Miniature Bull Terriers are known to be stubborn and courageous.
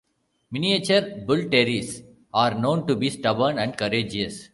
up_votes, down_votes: 1, 2